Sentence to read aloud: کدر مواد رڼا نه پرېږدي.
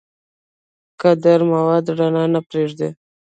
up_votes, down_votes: 0, 2